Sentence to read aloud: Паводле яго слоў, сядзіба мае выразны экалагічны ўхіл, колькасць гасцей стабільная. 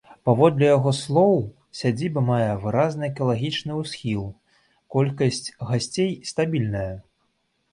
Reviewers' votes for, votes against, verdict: 2, 3, rejected